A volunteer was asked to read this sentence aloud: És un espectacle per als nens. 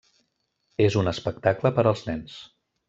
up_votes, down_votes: 3, 0